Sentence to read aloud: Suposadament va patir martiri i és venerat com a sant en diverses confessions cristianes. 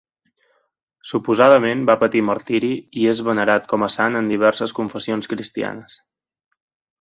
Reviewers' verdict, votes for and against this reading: accepted, 2, 0